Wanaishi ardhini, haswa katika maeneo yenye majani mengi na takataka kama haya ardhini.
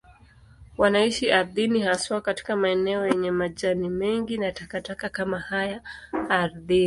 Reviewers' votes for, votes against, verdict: 2, 0, accepted